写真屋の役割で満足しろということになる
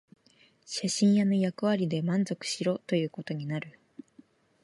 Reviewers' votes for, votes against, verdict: 4, 0, accepted